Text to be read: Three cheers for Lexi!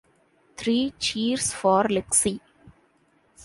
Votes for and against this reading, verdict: 2, 0, accepted